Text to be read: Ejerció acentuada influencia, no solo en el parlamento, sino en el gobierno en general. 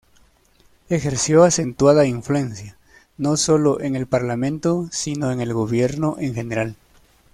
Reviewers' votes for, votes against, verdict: 2, 0, accepted